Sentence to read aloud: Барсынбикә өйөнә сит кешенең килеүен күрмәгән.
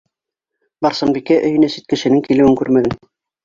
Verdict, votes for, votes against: rejected, 3, 4